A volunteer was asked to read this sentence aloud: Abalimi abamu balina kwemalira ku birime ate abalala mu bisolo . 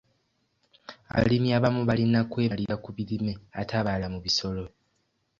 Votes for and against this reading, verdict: 1, 2, rejected